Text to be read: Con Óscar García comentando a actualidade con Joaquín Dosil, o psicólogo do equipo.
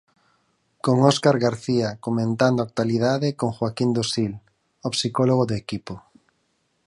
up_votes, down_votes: 4, 0